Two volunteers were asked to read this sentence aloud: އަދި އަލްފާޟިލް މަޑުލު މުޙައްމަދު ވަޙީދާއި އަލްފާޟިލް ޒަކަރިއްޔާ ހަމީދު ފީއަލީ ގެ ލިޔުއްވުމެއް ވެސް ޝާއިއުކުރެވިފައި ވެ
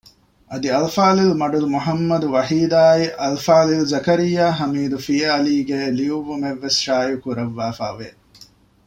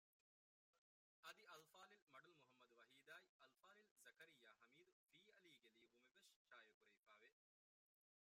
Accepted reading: first